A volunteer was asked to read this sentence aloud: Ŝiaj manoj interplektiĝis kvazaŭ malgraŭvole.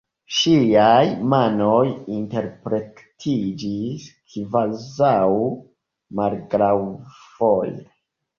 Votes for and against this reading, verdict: 2, 1, accepted